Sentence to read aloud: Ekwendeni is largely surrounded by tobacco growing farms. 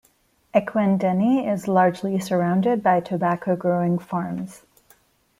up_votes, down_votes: 1, 2